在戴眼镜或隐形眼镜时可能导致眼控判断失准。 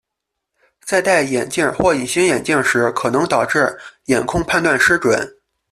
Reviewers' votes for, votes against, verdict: 2, 0, accepted